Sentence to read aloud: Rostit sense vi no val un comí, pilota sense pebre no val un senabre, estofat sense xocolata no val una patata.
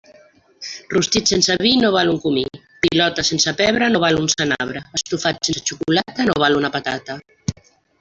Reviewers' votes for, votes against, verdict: 0, 2, rejected